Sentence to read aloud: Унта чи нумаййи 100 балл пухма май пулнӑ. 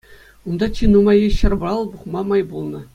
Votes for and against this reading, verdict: 0, 2, rejected